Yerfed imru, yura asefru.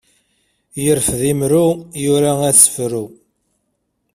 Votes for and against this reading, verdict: 2, 0, accepted